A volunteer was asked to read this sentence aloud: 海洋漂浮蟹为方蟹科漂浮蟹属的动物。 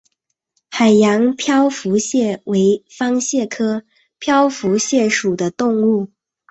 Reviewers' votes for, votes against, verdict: 0, 2, rejected